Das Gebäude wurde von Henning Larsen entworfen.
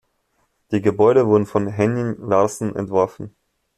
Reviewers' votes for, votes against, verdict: 1, 2, rejected